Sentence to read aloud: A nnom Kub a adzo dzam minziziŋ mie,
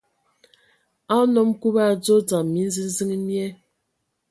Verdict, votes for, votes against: accepted, 2, 0